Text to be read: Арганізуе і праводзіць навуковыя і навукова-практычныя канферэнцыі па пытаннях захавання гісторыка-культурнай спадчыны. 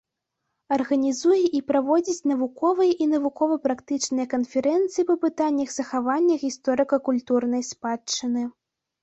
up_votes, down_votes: 2, 0